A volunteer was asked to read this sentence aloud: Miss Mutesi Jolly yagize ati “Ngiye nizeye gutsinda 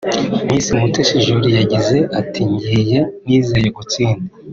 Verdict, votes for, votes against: accepted, 2, 0